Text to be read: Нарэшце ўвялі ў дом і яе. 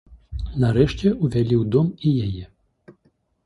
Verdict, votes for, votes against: accepted, 2, 0